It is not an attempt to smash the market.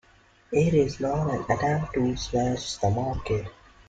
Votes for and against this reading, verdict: 2, 0, accepted